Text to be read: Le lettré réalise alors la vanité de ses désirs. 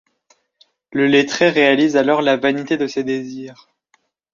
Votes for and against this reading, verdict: 2, 0, accepted